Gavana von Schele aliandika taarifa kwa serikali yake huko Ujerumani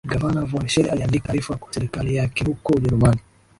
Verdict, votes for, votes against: accepted, 2, 1